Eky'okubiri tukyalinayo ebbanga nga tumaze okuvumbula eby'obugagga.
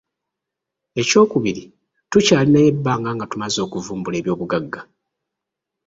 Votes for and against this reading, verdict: 1, 2, rejected